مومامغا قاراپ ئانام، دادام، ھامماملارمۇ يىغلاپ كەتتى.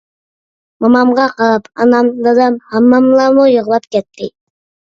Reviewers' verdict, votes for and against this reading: accepted, 2, 0